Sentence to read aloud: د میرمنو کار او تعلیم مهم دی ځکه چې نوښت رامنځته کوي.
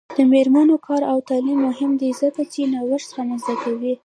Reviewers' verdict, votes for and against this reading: accepted, 2, 0